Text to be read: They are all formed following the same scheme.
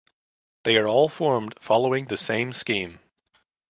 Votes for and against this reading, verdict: 2, 0, accepted